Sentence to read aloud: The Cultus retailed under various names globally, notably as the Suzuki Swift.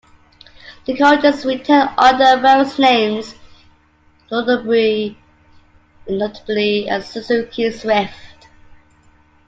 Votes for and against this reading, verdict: 2, 0, accepted